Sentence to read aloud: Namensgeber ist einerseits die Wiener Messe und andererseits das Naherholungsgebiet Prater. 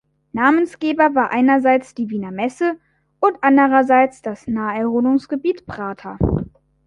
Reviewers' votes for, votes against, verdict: 0, 3, rejected